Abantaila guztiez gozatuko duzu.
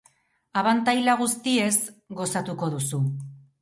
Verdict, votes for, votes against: accepted, 2, 0